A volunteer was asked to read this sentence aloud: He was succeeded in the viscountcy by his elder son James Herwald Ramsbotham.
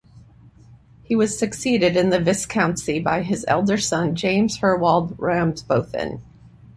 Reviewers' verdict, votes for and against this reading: rejected, 0, 2